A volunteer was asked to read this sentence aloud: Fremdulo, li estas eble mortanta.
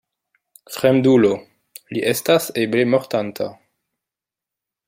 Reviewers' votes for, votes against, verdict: 2, 1, accepted